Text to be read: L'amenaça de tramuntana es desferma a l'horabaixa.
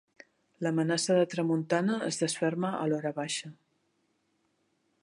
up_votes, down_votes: 2, 0